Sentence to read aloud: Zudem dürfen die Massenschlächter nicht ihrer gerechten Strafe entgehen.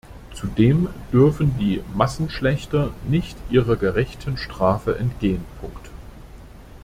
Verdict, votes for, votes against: rejected, 0, 2